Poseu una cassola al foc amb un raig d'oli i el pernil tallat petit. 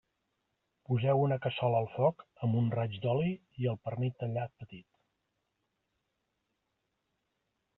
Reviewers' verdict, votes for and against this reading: rejected, 0, 2